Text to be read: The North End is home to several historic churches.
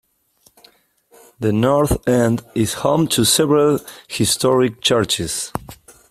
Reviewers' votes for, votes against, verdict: 2, 0, accepted